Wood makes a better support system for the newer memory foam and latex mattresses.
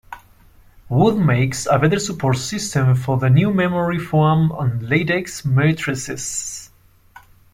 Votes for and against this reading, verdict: 1, 2, rejected